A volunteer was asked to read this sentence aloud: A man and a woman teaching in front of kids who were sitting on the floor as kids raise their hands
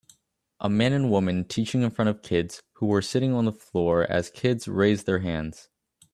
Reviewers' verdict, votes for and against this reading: accepted, 2, 0